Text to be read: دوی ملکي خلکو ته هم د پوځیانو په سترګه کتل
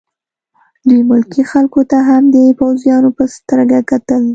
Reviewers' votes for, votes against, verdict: 2, 0, accepted